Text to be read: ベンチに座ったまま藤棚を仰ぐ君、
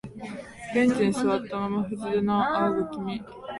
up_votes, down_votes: 1, 2